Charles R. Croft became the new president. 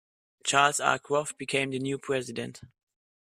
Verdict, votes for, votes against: accepted, 2, 0